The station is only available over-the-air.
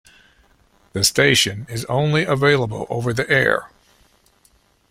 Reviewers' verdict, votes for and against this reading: accepted, 2, 0